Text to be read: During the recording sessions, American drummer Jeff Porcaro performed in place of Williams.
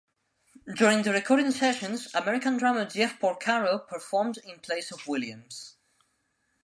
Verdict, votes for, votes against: accepted, 2, 0